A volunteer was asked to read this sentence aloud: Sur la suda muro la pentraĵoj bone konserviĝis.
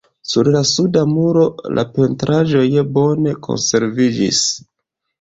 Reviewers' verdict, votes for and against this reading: accepted, 2, 0